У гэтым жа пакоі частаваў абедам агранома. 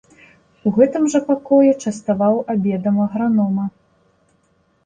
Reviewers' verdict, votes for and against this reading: accepted, 2, 0